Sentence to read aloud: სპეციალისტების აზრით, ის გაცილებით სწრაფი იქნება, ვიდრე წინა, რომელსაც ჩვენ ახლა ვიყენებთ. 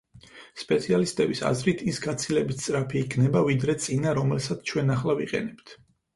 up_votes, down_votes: 4, 0